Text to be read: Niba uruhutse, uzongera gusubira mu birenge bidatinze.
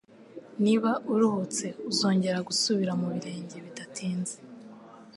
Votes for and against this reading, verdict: 3, 0, accepted